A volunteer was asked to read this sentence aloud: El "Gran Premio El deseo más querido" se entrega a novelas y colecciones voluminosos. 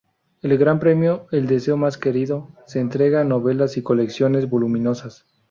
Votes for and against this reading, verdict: 0, 2, rejected